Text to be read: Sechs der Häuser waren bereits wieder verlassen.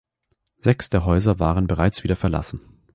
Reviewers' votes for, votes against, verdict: 2, 0, accepted